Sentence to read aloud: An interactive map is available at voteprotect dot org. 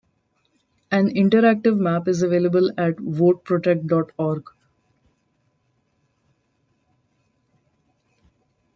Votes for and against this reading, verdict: 1, 2, rejected